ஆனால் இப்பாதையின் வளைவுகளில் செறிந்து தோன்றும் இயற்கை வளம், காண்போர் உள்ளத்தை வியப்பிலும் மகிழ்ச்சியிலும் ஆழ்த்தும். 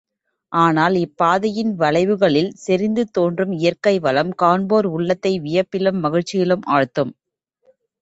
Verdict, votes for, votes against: rejected, 1, 2